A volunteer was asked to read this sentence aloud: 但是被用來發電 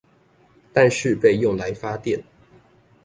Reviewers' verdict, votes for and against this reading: accepted, 2, 0